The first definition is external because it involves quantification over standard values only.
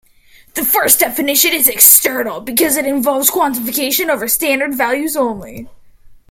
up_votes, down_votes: 2, 0